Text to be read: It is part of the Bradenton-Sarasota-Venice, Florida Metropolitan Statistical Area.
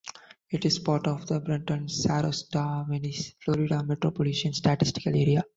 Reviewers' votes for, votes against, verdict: 0, 2, rejected